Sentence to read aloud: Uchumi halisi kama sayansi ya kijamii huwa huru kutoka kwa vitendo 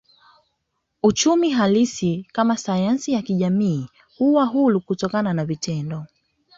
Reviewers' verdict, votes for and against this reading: accepted, 2, 0